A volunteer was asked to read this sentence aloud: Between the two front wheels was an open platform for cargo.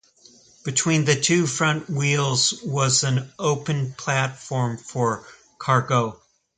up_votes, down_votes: 2, 0